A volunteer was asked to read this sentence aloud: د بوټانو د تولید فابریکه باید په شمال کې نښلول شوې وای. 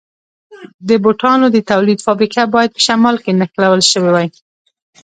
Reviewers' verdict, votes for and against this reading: accepted, 2, 0